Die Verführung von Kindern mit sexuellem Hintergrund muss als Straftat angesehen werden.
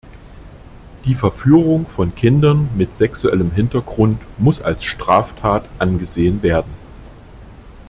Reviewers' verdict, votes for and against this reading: accepted, 2, 0